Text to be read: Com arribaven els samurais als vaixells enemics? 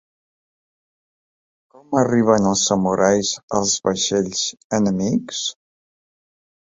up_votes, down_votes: 0, 2